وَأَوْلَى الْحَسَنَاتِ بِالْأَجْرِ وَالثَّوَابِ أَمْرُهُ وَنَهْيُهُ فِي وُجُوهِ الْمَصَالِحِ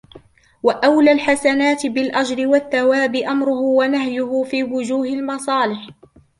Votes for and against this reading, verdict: 1, 2, rejected